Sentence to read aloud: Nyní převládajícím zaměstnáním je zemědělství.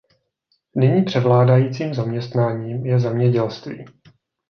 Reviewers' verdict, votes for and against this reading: accepted, 2, 0